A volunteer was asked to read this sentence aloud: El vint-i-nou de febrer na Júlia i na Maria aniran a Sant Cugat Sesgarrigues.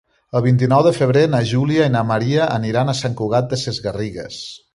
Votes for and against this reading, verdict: 1, 2, rejected